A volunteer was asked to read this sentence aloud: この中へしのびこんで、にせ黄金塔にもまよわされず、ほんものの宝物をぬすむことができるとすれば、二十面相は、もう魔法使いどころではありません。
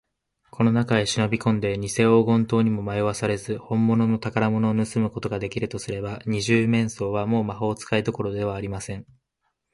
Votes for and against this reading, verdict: 0, 2, rejected